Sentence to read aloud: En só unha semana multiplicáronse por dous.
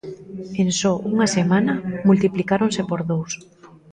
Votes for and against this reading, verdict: 2, 0, accepted